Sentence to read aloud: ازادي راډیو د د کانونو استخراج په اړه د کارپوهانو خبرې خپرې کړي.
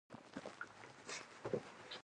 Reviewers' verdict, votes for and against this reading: rejected, 1, 3